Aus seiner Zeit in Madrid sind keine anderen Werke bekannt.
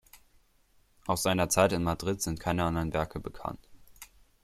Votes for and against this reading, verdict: 2, 0, accepted